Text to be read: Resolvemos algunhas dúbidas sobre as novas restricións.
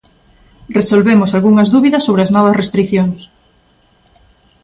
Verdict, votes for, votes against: accepted, 2, 0